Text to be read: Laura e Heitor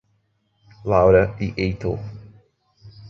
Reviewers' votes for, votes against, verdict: 2, 0, accepted